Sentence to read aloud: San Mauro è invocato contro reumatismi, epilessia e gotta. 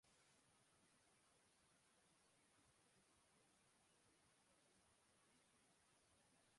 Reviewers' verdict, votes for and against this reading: rejected, 0, 2